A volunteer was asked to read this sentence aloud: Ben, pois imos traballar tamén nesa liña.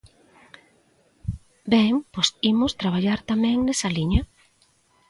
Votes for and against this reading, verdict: 2, 0, accepted